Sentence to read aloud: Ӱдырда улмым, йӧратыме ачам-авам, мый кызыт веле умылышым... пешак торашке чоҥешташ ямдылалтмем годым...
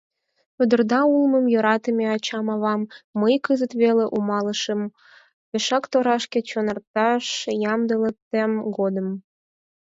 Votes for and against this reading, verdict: 0, 4, rejected